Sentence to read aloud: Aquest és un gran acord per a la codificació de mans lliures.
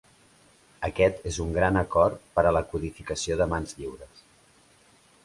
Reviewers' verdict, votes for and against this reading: accepted, 3, 0